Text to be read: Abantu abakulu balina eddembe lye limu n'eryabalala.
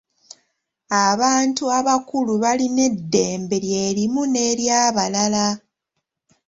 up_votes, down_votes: 0, 2